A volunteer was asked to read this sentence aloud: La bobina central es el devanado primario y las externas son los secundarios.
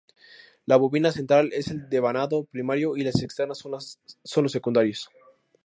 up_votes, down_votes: 0, 2